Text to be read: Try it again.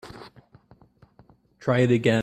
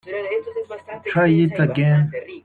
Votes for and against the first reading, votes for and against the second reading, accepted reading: 2, 1, 1, 2, first